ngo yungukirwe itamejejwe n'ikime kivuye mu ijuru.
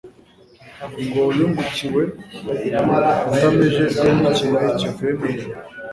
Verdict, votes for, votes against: rejected, 0, 2